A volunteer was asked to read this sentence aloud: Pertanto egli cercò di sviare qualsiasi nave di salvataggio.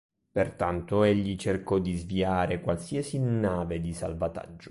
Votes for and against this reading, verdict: 2, 0, accepted